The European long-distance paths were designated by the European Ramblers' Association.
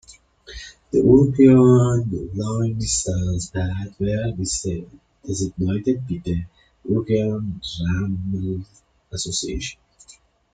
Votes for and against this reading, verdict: 0, 2, rejected